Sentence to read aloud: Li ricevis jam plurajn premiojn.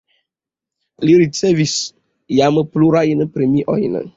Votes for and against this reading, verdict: 2, 0, accepted